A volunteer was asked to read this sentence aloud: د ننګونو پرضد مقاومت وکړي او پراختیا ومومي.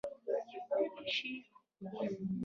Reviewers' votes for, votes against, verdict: 1, 2, rejected